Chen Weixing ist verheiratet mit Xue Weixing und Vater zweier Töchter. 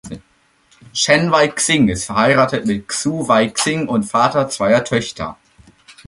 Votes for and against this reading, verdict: 2, 0, accepted